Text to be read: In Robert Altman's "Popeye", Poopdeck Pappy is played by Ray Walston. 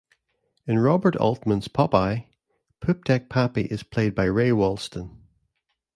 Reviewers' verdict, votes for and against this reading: accepted, 2, 0